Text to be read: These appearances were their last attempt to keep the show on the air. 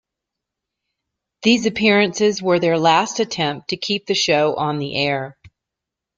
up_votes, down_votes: 2, 0